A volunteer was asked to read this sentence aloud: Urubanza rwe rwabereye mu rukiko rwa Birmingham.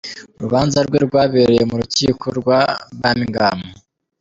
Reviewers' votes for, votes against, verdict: 2, 1, accepted